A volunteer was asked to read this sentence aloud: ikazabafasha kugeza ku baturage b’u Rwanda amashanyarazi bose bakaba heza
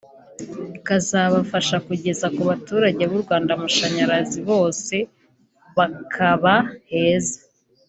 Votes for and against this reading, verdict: 3, 0, accepted